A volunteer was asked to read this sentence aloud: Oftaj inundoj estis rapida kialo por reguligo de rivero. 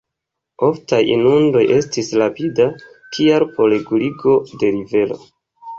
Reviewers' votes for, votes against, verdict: 2, 0, accepted